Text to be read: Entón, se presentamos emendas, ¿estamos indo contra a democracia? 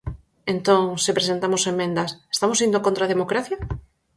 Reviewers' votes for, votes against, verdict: 4, 0, accepted